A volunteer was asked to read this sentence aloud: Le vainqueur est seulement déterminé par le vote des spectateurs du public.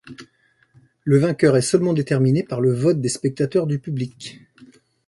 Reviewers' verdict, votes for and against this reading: accepted, 3, 0